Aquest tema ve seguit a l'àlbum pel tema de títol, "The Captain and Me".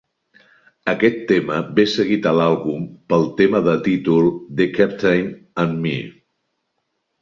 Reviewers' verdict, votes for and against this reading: accepted, 2, 1